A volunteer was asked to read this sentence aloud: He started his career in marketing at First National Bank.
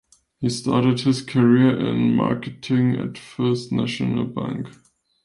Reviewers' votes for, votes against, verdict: 2, 0, accepted